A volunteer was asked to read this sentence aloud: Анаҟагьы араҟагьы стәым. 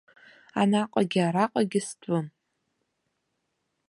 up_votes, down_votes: 2, 0